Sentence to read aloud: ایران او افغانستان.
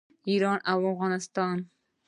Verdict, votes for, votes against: rejected, 1, 2